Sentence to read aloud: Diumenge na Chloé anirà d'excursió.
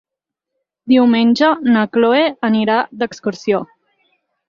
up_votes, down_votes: 6, 2